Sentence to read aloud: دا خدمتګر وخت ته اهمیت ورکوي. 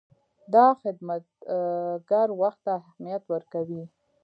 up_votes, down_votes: 2, 0